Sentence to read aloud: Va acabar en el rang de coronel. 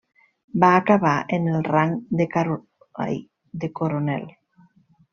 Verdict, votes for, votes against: rejected, 0, 2